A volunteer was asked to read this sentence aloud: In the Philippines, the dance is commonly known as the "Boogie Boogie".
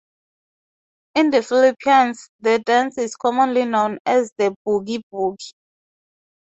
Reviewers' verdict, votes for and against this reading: accepted, 2, 0